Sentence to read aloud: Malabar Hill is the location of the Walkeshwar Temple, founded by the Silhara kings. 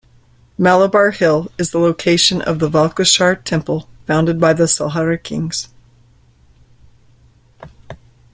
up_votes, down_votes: 0, 2